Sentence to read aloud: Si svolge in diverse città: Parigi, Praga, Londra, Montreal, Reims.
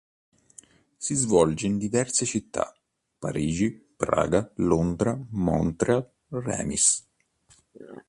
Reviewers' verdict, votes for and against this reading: rejected, 0, 2